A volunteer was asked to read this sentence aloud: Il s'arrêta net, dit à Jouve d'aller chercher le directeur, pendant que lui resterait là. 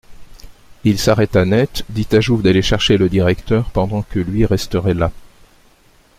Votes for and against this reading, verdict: 2, 0, accepted